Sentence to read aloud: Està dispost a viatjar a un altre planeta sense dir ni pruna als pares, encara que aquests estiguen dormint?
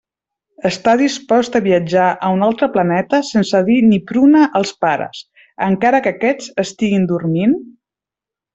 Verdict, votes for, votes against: accepted, 2, 0